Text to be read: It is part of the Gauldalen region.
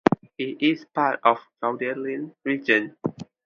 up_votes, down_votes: 2, 0